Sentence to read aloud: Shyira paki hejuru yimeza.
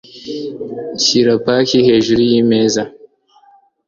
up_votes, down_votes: 2, 0